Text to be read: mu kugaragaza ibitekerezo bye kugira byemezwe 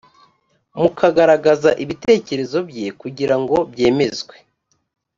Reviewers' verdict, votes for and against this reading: accepted, 2, 0